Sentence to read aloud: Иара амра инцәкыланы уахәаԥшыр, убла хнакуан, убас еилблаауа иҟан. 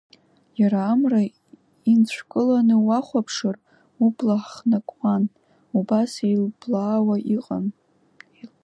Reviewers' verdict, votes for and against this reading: rejected, 1, 2